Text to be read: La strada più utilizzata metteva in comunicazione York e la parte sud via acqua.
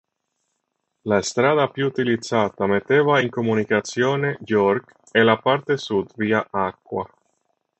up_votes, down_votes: 3, 0